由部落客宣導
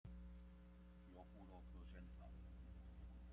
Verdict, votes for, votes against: rejected, 0, 2